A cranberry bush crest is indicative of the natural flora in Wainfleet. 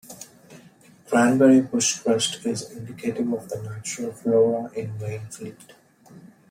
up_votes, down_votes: 0, 2